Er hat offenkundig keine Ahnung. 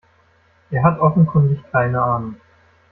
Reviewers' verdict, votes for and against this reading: rejected, 0, 2